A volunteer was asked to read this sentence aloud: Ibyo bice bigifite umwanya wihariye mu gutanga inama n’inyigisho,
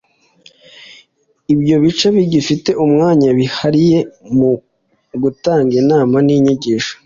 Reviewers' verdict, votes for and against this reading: accepted, 2, 0